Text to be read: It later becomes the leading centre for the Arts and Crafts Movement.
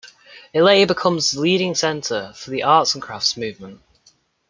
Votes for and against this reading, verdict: 0, 2, rejected